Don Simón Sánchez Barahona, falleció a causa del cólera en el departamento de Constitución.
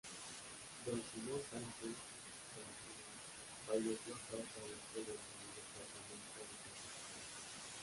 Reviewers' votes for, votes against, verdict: 0, 2, rejected